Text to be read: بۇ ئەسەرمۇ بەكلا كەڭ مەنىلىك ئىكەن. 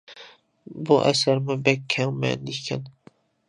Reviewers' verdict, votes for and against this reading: rejected, 1, 2